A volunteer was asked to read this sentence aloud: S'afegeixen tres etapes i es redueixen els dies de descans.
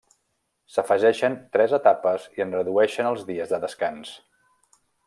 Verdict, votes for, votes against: rejected, 1, 2